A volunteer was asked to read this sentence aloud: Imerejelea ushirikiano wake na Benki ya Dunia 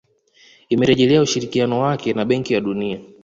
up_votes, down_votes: 1, 2